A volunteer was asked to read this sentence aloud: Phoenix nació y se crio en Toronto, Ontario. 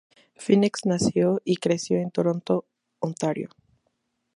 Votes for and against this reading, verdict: 0, 2, rejected